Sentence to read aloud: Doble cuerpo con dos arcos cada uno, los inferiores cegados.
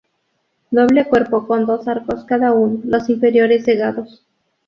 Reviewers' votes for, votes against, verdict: 2, 0, accepted